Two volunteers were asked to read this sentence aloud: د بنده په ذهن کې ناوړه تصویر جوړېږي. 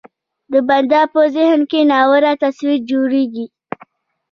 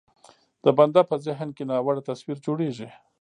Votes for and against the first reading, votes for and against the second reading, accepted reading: 2, 1, 1, 2, first